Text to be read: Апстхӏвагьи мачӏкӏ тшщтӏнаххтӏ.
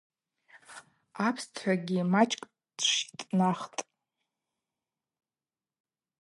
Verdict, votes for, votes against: rejected, 2, 2